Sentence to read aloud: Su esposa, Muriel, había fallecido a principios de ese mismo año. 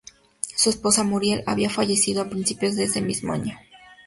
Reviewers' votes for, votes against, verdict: 2, 0, accepted